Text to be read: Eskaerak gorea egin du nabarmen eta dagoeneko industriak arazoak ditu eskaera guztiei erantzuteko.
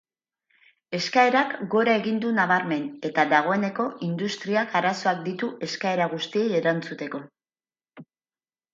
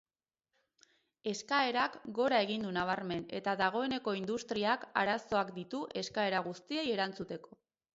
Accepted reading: second